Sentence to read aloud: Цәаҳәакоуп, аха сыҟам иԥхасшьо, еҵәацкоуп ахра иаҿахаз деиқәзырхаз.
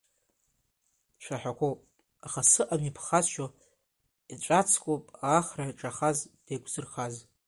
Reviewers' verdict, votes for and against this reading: rejected, 1, 2